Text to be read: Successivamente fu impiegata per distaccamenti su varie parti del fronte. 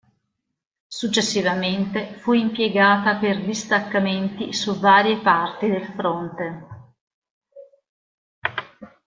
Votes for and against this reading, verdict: 2, 0, accepted